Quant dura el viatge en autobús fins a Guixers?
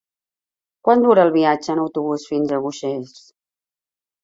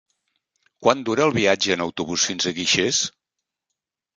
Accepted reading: second